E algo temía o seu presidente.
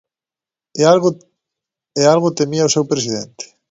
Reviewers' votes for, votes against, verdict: 1, 2, rejected